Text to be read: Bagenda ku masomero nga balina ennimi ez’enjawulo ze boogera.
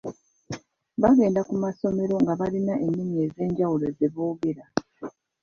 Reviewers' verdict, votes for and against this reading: accepted, 3, 0